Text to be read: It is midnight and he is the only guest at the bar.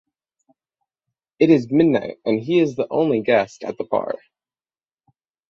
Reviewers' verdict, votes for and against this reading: accepted, 6, 0